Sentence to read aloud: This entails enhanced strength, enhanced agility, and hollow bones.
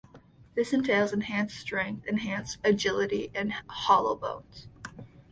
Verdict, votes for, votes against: accepted, 2, 0